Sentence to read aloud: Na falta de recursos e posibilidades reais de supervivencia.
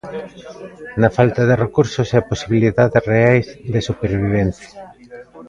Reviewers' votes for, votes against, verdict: 2, 0, accepted